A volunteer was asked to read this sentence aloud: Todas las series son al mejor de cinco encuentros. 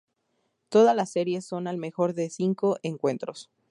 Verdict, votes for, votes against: rejected, 0, 2